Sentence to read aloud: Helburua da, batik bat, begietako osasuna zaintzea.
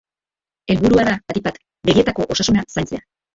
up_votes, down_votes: 2, 0